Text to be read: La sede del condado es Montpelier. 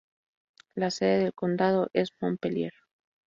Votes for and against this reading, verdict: 0, 2, rejected